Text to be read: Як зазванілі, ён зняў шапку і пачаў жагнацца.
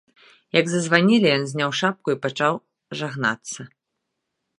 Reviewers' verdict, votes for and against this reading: accepted, 2, 0